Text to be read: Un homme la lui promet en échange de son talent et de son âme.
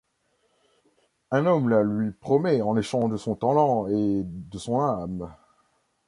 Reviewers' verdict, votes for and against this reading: rejected, 1, 2